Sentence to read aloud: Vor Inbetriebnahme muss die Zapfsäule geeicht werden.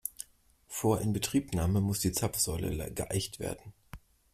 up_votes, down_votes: 1, 2